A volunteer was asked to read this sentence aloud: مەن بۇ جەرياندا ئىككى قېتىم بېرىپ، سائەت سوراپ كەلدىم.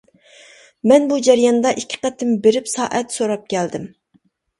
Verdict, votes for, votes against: accepted, 2, 0